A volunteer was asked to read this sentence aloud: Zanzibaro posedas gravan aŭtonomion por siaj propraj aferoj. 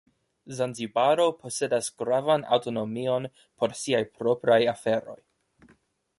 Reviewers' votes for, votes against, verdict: 2, 0, accepted